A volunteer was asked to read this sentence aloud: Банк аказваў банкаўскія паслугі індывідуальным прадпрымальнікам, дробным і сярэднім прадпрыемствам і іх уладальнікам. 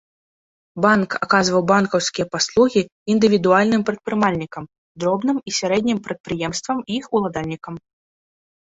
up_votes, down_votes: 2, 0